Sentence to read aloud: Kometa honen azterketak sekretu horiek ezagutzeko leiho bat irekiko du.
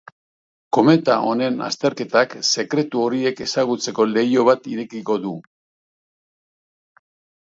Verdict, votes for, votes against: accepted, 4, 0